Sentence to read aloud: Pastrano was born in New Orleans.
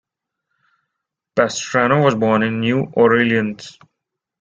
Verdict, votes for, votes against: accepted, 2, 0